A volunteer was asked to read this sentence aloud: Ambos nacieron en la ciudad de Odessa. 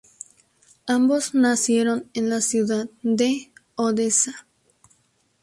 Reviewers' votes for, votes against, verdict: 2, 0, accepted